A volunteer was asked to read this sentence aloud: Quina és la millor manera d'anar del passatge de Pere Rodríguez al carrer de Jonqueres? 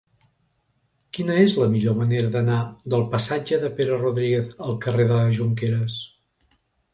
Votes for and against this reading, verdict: 0, 3, rejected